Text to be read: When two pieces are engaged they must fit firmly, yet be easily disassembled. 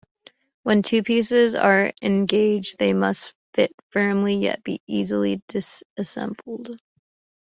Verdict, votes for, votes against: accepted, 2, 0